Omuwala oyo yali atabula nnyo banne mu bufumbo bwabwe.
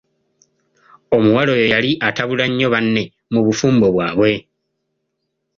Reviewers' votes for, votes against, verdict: 2, 0, accepted